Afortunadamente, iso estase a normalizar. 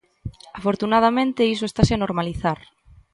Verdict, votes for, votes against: accepted, 2, 0